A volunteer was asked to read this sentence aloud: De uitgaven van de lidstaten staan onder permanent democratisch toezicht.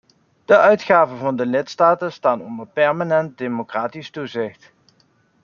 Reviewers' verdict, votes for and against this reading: accepted, 2, 0